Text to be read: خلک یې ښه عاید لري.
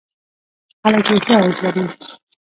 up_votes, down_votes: 1, 2